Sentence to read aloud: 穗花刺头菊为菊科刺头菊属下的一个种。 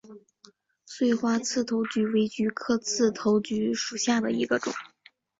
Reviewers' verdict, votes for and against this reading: accepted, 6, 0